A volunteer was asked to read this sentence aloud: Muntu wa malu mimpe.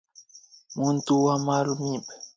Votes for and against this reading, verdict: 1, 2, rejected